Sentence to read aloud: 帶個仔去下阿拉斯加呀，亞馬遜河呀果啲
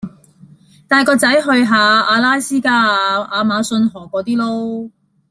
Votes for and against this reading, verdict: 1, 2, rejected